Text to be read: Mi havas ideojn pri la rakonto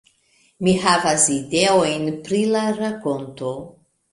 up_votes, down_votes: 1, 2